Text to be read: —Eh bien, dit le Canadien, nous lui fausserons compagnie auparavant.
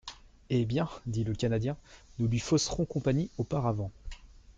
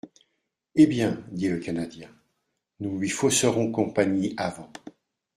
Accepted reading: first